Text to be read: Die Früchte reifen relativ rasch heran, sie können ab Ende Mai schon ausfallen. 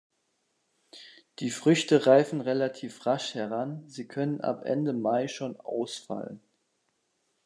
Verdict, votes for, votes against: accepted, 2, 1